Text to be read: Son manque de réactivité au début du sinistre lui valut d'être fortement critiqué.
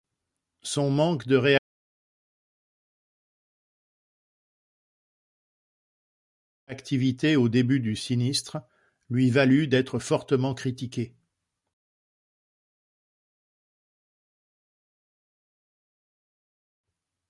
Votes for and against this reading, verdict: 0, 2, rejected